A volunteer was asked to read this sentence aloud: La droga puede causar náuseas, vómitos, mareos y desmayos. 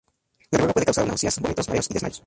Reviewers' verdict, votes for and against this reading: rejected, 0, 4